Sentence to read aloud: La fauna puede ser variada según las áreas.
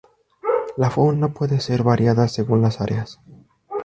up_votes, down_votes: 2, 0